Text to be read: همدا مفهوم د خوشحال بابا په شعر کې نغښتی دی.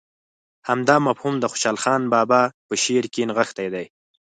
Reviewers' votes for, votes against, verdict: 4, 0, accepted